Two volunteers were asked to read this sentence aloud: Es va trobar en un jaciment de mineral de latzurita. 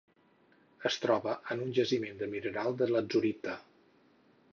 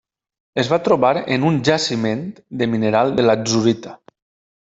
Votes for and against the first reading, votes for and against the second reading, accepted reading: 4, 6, 2, 0, second